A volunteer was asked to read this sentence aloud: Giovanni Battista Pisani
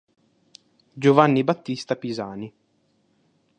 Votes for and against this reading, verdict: 2, 0, accepted